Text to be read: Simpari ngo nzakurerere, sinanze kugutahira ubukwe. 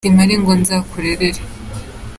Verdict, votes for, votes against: rejected, 0, 2